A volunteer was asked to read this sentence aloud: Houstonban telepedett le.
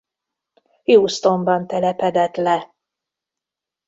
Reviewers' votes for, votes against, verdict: 1, 2, rejected